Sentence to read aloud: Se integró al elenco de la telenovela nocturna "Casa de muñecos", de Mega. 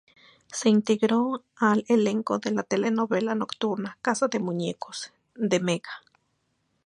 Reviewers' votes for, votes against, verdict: 2, 0, accepted